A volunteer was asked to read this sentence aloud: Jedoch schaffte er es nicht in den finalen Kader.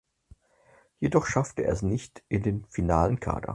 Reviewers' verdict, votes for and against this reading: accepted, 4, 0